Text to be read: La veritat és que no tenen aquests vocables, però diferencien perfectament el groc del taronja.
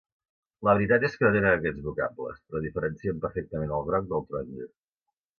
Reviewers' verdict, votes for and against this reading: rejected, 1, 2